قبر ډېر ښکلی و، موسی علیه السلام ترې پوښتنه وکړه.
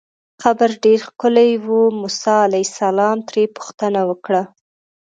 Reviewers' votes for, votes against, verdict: 2, 0, accepted